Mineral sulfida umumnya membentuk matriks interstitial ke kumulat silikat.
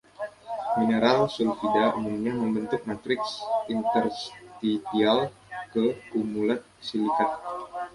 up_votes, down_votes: 2, 1